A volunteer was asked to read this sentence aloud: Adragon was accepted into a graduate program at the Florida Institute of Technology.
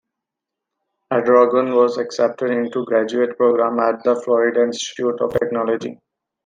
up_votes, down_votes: 2, 0